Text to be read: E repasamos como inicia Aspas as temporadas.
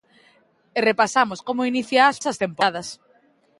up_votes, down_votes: 0, 2